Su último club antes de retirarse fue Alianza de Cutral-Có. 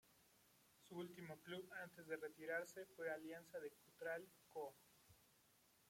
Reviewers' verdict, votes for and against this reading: rejected, 0, 2